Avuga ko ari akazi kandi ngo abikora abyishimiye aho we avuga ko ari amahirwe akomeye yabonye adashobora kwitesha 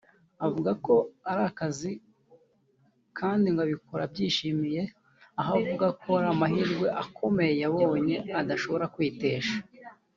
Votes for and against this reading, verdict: 1, 2, rejected